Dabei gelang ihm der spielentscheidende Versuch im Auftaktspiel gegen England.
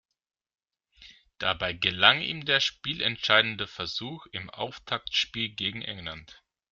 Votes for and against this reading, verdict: 2, 0, accepted